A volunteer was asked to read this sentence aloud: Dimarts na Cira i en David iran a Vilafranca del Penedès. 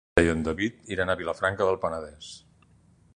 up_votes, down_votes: 1, 2